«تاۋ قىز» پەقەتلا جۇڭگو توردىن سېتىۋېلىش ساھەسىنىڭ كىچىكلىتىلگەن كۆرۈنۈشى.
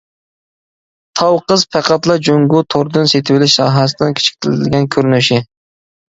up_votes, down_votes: 2, 1